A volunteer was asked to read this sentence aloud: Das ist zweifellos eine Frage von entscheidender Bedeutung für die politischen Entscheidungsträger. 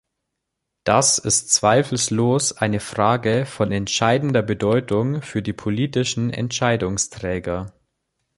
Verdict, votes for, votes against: rejected, 1, 2